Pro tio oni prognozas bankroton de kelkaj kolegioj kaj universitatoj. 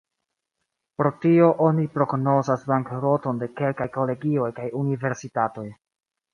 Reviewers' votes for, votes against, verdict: 3, 1, accepted